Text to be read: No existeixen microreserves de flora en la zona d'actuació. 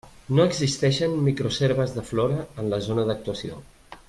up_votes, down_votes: 0, 2